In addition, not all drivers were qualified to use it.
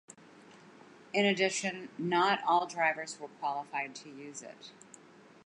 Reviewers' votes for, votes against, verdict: 2, 0, accepted